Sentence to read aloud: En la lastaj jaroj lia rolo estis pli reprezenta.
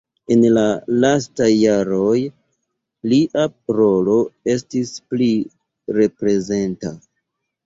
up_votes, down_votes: 0, 2